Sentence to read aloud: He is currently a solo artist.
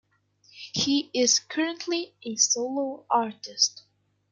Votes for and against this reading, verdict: 2, 0, accepted